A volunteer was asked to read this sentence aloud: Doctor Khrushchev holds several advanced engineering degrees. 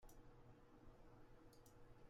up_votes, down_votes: 0, 2